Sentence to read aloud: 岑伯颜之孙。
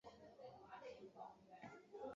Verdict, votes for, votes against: rejected, 0, 2